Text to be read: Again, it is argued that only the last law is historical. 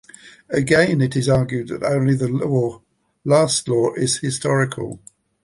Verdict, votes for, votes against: rejected, 1, 2